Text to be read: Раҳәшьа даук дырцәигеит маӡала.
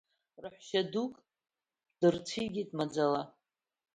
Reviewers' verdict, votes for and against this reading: rejected, 1, 2